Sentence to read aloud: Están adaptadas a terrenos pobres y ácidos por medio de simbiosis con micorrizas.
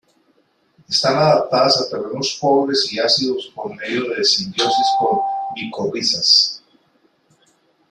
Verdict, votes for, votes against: rejected, 1, 2